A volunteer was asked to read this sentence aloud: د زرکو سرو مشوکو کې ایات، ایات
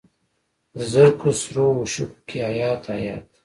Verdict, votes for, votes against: rejected, 1, 2